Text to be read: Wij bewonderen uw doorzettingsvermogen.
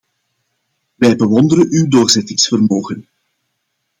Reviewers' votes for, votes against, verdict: 2, 0, accepted